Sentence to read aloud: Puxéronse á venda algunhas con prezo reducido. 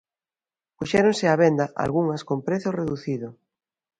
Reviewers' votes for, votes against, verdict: 2, 0, accepted